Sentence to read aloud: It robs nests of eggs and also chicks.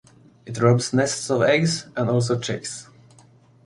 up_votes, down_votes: 2, 0